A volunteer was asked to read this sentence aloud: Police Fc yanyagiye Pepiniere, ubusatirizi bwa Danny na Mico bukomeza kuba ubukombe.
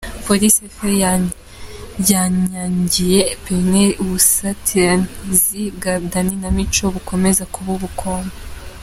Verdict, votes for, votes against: rejected, 0, 2